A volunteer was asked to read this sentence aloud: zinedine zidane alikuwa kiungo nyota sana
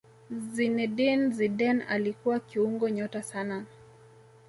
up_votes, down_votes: 2, 0